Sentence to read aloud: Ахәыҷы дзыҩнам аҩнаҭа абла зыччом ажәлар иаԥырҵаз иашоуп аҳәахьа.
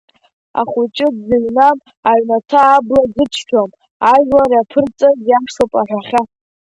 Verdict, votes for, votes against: accepted, 2, 1